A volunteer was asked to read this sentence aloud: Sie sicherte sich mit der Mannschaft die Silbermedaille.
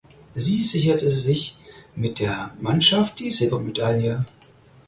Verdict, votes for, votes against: accepted, 4, 0